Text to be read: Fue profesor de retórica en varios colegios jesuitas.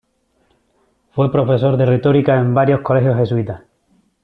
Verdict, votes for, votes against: accepted, 2, 0